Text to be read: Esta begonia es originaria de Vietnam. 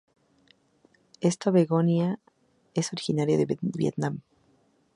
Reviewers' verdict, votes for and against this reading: rejected, 2, 2